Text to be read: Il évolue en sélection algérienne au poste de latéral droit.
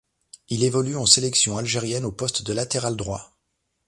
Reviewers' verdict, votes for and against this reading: accepted, 2, 0